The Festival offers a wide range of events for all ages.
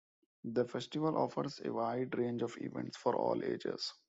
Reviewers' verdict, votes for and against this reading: rejected, 1, 2